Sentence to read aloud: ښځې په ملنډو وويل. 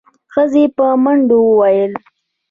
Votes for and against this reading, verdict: 1, 2, rejected